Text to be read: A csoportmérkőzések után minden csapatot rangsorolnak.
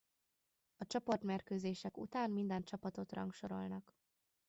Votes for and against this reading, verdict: 2, 1, accepted